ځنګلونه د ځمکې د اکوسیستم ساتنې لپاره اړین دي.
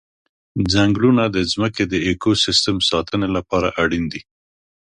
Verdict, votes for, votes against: accepted, 2, 0